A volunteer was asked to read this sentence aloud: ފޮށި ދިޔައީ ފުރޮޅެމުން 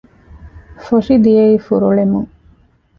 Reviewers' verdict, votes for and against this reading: rejected, 0, 2